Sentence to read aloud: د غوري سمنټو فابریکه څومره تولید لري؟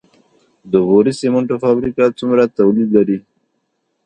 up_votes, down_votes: 2, 1